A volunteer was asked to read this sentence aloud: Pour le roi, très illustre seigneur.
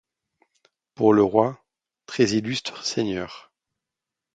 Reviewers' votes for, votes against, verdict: 2, 0, accepted